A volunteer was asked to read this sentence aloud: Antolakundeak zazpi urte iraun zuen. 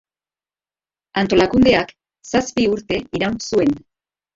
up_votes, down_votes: 0, 2